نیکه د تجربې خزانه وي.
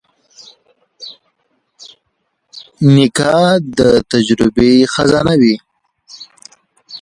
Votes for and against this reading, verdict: 3, 1, accepted